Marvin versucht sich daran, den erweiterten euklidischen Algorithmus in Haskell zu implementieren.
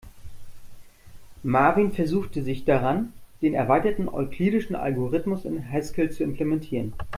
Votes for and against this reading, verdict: 0, 2, rejected